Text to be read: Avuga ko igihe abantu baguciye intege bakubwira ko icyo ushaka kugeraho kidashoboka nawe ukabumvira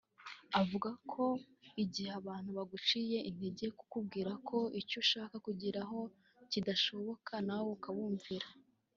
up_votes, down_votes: 1, 2